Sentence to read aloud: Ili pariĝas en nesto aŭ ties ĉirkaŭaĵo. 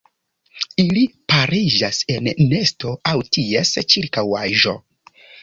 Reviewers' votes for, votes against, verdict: 2, 1, accepted